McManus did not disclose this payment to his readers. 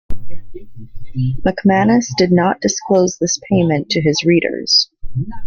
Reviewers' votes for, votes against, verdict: 2, 0, accepted